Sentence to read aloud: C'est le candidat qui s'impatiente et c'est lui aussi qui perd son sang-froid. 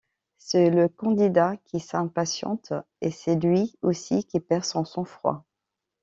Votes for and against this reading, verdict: 2, 0, accepted